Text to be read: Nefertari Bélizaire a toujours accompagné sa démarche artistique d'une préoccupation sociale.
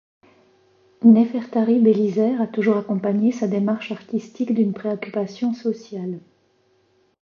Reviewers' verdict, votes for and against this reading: accepted, 2, 0